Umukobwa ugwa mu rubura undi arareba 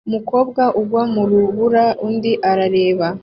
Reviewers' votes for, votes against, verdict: 2, 0, accepted